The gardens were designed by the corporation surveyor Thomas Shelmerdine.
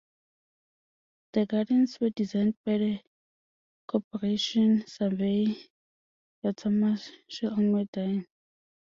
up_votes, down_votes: 2, 1